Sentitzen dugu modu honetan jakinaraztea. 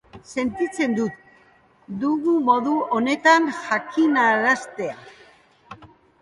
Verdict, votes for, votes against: rejected, 1, 2